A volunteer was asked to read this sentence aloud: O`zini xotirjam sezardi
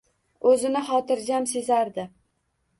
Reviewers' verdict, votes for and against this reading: accepted, 2, 0